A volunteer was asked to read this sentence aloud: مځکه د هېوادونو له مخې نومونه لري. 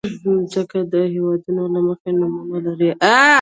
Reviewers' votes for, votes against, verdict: 1, 2, rejected